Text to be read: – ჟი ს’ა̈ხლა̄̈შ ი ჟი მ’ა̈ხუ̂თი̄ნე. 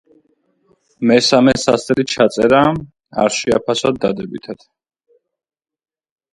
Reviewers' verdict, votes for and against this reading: rejected, 0, 3